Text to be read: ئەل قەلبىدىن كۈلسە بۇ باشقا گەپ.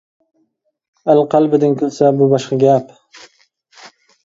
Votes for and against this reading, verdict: 2, 1, accepted